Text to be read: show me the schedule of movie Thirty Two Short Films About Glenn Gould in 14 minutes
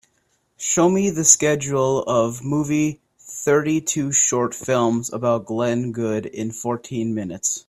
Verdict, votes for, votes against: rejected, 0, 2